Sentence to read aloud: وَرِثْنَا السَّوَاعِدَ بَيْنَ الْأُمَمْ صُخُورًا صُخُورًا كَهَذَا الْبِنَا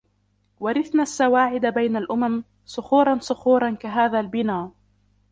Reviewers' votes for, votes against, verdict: 0, 2, rejected